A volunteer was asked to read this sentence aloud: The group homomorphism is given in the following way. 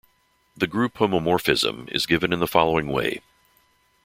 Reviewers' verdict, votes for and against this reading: accepted, 2, 0